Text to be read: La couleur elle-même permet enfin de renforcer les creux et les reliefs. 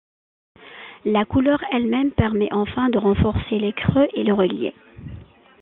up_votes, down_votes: 0, 2